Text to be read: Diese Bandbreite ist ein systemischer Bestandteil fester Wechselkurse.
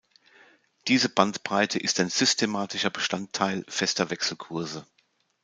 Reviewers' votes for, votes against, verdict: 1, 2, rejected